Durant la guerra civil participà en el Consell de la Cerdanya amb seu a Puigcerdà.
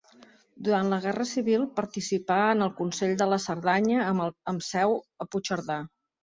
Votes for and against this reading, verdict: 2, 4, rejected